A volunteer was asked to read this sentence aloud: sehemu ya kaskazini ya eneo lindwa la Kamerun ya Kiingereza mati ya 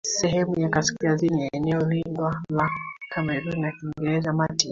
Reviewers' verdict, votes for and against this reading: rejected, 2, 3